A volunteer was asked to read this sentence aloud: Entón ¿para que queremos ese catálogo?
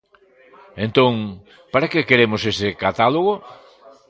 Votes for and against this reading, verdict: 2, 0, accepted